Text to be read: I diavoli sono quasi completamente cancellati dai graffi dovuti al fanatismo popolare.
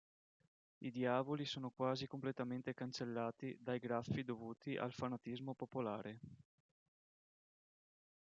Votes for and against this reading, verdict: 2, 0, accepted